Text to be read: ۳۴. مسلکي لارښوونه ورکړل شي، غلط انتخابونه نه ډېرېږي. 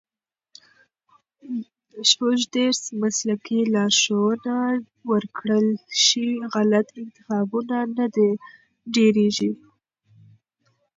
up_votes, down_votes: 0, 2